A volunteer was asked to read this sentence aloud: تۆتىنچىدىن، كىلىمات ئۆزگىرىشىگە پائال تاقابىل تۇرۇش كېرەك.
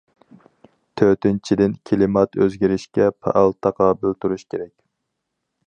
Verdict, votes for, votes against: rejected, 2, 2